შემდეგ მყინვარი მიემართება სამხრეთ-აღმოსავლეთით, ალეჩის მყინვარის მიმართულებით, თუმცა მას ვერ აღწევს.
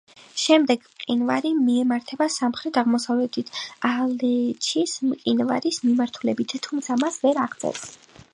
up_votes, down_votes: 4, 3